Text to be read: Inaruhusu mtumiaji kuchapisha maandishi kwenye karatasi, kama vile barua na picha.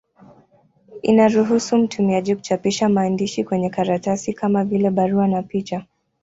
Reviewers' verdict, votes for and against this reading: accepted, 2, 0